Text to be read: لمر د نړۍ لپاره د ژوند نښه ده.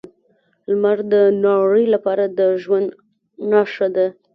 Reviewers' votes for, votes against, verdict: 2, 0, accepted